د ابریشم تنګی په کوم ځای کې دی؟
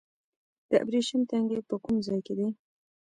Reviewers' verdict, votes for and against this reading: rejected, 0, 2